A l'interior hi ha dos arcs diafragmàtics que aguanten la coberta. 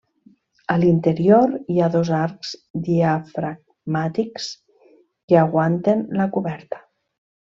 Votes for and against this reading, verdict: 1, 2, rejected